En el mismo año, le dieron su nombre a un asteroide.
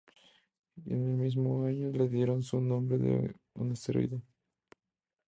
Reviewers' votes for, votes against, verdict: 2, 0, accepted